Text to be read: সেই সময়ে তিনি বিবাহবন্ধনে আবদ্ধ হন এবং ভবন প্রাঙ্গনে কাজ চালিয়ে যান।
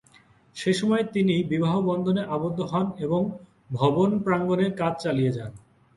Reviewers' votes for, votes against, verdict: 4, 0, accepted